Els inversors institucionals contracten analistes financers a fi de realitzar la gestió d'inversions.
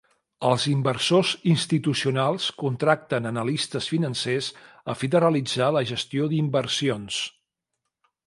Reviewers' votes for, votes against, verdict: 2, 0, accepted